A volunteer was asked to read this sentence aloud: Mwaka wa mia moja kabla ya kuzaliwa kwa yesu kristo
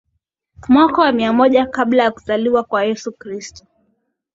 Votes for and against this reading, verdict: 2, 0, accepted